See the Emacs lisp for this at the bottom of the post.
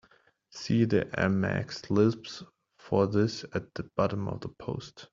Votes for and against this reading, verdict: 1, 2, rejected